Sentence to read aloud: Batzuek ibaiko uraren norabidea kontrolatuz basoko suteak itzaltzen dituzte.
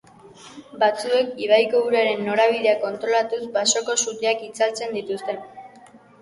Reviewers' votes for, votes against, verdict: 2, 0, accepted